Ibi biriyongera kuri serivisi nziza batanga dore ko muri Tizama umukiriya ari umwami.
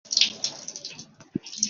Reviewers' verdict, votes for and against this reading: rejected, 0, 2